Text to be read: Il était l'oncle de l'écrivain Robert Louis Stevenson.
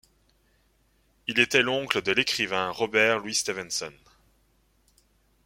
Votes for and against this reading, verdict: 2, 0, accepted